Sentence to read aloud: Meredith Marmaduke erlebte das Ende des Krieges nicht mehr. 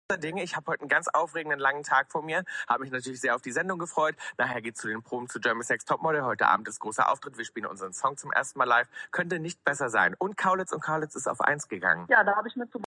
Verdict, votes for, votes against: rejected, 0, 2